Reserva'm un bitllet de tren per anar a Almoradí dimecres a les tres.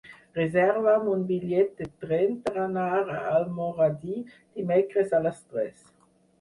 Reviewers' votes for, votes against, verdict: 6, 0, accepted